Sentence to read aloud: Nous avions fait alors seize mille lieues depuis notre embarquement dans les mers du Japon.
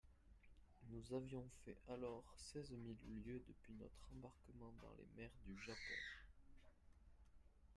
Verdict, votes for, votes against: rejected, 0, 2